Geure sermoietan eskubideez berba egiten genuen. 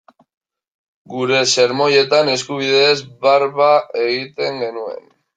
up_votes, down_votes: 0, 2